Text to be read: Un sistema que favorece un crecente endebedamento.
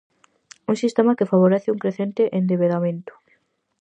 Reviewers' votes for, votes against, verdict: 4, 0, accepted